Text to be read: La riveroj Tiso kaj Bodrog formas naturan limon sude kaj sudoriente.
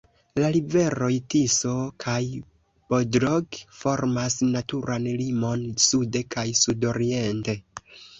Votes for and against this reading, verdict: 2, 0, accepted